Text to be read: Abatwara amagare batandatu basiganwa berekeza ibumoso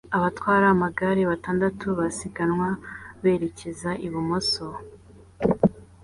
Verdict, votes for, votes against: accepted, 2, 0